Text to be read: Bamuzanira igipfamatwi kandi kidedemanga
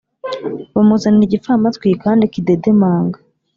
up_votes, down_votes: 3, 0